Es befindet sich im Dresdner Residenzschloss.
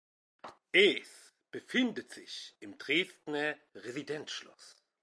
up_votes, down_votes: 2, 0